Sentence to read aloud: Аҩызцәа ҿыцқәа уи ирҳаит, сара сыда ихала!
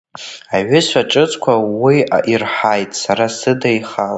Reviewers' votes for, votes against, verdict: 2, 0, accepted